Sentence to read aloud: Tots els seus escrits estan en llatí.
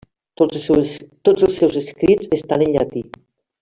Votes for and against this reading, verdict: 0, 2, rejected